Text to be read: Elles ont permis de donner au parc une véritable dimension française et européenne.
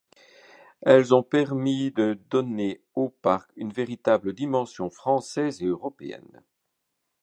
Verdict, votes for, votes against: accepted, 2, 0